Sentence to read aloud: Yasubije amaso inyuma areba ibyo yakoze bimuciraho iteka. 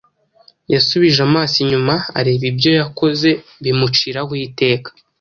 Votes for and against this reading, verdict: 2, 0, accepted